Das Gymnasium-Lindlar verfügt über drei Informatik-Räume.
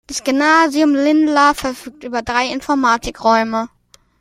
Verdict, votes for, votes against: accepted, 2, 1